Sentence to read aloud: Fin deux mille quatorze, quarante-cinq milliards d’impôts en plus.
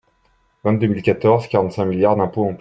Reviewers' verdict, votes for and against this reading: rejected, 0, 2